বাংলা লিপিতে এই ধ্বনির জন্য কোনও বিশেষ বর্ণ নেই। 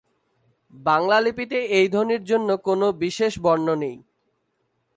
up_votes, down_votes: 4, 0